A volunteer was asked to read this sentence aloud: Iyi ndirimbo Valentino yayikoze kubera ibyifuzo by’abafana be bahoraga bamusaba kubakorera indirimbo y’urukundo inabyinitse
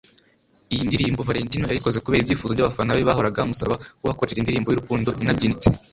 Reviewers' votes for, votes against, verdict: 2, 1, accepted